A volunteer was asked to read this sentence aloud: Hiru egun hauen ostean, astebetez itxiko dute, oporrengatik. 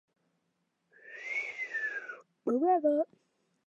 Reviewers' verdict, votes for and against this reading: rejected, 0, 2